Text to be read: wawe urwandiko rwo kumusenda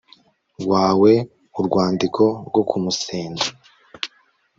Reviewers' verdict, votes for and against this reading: accepted, 3, 0